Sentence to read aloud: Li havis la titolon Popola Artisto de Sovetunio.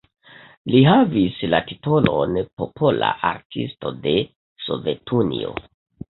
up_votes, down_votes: 1, 2